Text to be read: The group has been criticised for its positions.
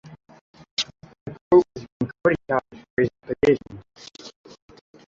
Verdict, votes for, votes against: rejected, 0, 2